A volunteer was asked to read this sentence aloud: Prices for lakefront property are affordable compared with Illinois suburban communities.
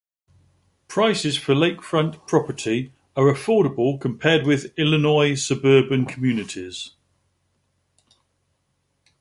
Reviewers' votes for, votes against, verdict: 2, 0, accepted